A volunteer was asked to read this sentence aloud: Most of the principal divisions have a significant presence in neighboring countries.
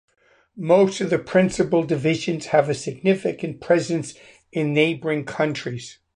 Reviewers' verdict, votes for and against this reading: accepted, 2, 0